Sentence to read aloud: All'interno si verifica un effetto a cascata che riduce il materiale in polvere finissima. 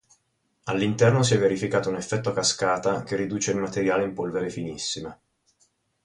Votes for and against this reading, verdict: 0, 4, rejected